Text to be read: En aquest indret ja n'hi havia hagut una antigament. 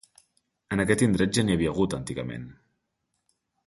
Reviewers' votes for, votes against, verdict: 0, 2, rejected